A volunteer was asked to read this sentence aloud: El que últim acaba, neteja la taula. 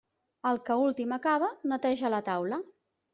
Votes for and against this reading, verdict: 3, 0, accepted